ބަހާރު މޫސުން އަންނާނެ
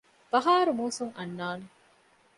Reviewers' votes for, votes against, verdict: 2, 0, accepted